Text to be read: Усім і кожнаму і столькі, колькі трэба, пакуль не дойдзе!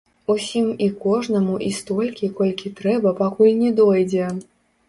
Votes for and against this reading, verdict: 1, 2, rejected